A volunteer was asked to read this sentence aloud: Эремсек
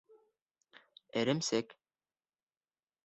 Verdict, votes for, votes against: accepted, 2, 0